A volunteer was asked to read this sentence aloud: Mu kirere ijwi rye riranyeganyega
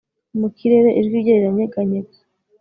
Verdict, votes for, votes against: accepted, 2, 0